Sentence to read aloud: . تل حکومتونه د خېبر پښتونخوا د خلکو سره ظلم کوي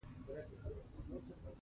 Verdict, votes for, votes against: accepted, 2, 1